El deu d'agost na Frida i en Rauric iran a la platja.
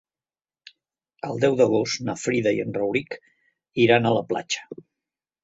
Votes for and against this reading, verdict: 3, 0, accepted